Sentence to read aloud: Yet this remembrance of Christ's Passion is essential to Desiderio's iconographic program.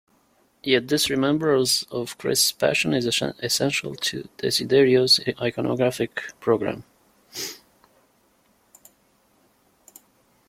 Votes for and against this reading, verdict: 0, 2, rejected